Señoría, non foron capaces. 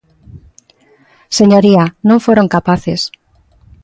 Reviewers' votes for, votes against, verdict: 2, 0, accepted